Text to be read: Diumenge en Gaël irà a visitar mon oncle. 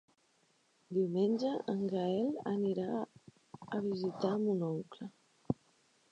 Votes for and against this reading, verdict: 0, 2, rejected